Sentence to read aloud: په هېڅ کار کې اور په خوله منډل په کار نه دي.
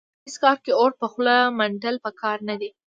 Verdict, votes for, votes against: rejected, 1, 2